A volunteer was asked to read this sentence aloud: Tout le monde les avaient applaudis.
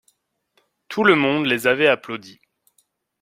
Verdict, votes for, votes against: accepted, 2, 0